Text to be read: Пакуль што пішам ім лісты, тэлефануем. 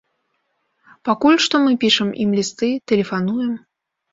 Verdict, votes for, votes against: rejected, 1, 2